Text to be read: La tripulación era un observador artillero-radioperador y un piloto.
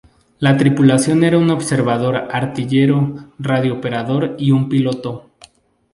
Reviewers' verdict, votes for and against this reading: accepted, 4, 0